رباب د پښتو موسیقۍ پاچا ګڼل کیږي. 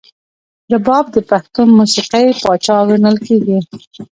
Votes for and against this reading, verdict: 1, 2, rejected